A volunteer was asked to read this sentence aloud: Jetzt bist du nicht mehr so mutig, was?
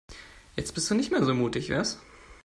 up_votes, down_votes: 2, 1